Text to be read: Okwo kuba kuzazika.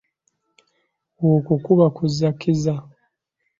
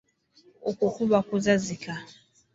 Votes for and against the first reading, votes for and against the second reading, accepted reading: 0, 2, 2, 0, second